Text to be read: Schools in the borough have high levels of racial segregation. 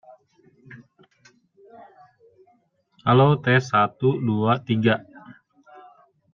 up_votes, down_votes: 0, 2